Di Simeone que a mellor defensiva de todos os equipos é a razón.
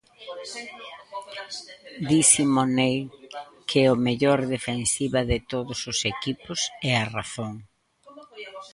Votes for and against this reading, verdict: 0, 2, rejected